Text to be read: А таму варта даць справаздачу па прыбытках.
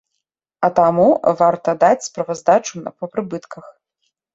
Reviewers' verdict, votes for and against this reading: rejected, 1, 2